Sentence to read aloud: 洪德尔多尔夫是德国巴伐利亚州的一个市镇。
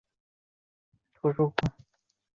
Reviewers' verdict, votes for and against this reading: rejected, 4, 7